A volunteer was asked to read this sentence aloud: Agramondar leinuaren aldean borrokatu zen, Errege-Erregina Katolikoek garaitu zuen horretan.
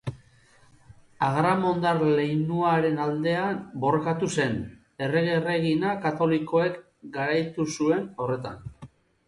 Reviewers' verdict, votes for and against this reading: rejected, 2, 2